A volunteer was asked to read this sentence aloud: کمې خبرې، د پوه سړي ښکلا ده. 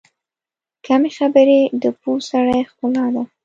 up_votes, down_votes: 1, 2